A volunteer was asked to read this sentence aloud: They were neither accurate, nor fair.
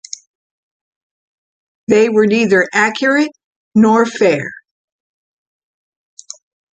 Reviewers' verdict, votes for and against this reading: accepted, 2, 0